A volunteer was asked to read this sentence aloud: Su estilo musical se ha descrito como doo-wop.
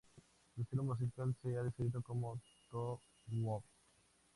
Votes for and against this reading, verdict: 2, 0, accepted